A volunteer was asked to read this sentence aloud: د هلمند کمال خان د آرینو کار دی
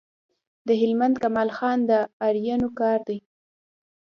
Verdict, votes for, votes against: rejected, 0, 2